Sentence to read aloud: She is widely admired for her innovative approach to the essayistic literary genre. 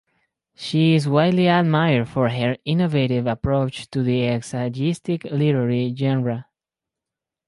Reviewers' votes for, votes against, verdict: 2, 0, accepted